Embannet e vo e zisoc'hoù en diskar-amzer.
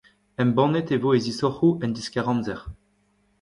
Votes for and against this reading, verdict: 1, 2, rejected